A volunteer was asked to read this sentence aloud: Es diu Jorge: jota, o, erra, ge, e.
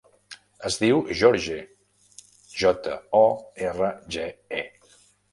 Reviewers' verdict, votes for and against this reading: rejected, 1, 2